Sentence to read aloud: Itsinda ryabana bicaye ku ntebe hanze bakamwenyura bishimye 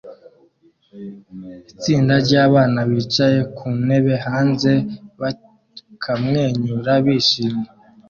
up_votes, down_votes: 0, 2